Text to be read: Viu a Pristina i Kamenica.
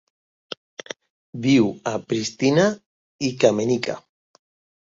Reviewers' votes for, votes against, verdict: 2, 0, accepted